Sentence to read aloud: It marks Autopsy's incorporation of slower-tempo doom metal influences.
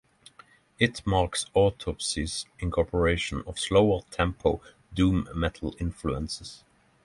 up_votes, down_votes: 6, 0